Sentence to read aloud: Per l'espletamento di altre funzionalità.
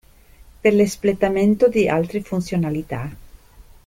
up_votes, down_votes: 2, 0